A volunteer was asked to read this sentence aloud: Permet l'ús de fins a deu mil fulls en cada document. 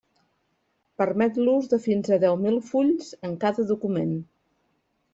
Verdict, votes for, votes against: accepted, 4, 0